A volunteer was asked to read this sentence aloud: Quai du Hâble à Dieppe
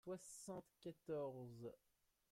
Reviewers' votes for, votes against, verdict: 0, 2, rejected